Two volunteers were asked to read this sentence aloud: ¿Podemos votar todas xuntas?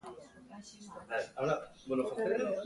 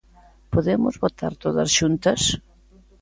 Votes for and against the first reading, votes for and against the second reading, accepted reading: 0, 2, 2, 0, second